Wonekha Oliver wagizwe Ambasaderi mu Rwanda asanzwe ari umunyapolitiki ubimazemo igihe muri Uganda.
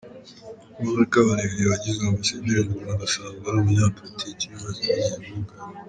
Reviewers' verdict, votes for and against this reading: accepted, 2, 0